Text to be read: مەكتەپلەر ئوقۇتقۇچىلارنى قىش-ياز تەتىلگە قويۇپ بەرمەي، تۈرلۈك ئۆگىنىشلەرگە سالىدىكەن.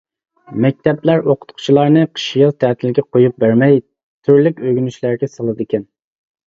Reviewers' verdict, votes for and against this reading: accepted, 2, 1